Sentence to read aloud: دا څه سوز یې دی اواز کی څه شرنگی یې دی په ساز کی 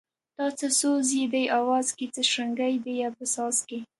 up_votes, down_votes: 1, 2